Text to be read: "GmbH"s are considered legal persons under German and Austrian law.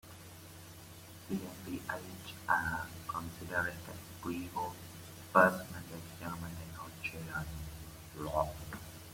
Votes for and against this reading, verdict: 0, 2, rejected